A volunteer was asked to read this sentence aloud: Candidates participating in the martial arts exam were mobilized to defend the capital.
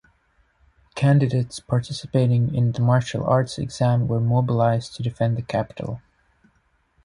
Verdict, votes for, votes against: accepted, 2, 0